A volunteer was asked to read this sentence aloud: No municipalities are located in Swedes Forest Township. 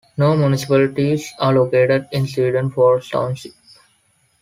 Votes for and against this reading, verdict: 0, 2, rejected